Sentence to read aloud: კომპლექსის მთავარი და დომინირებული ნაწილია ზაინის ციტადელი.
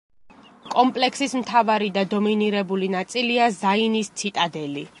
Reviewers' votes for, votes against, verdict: 2, 0, accepted